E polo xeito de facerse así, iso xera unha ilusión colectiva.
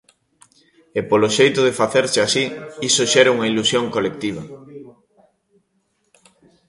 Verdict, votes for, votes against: rejected, 0, 2